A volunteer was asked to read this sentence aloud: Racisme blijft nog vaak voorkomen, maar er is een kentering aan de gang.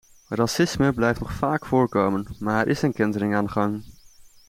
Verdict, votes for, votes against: accepted, 2, 0